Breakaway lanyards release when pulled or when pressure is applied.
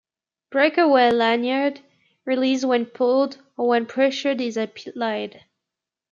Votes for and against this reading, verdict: 0, 2, rejected